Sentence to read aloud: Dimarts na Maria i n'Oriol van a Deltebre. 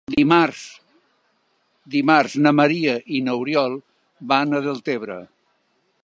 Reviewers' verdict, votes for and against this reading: rejected, 0, 2